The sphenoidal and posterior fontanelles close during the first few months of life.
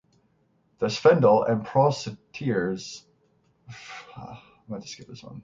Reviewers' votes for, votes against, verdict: 0, 6, rejected